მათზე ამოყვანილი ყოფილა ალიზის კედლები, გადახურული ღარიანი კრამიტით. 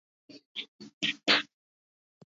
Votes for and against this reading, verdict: 1, 2, rejected